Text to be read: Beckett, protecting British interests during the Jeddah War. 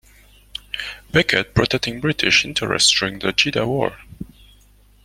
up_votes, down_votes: 2, 1